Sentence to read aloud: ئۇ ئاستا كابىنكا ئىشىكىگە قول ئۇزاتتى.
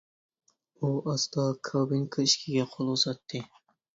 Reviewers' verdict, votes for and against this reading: rejected, 0, 2